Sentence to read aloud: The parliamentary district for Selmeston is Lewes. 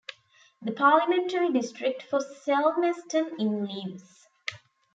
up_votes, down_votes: 0, 2